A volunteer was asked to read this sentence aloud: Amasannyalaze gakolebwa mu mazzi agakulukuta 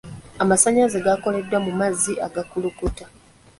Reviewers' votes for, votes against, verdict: 0, 2, rejected